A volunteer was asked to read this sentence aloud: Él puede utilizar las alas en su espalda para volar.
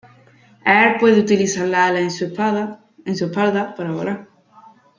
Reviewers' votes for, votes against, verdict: 0, 2, rejected